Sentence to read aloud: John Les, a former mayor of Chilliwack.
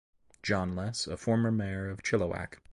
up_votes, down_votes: 3, 0